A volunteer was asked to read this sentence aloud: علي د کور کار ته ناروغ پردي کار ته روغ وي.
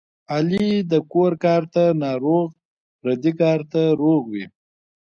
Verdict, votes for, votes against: accepted, 2, 1